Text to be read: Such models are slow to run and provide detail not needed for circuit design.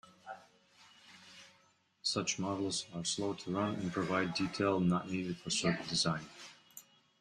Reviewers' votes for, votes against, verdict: 2, 0, accepted